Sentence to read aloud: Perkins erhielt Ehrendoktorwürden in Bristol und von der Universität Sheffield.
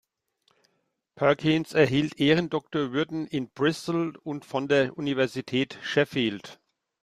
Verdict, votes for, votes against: accepted, 2, 0